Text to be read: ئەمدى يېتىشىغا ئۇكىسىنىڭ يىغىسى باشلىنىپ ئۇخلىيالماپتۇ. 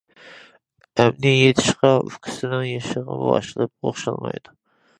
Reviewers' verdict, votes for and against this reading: rejected, 0, 2